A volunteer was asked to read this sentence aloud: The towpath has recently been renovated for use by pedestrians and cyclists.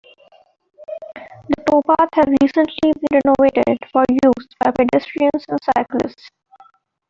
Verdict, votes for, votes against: rejected, 0, 2